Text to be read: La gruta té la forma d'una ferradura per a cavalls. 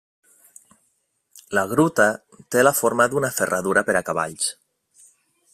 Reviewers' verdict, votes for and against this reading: accepted, 3, 0